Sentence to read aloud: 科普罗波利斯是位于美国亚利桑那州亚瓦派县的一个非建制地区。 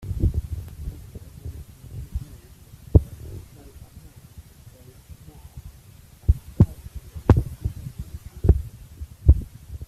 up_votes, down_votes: 0, 2